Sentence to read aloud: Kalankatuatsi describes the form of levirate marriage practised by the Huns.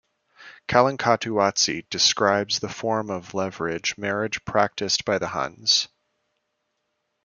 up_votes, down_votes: 0, 2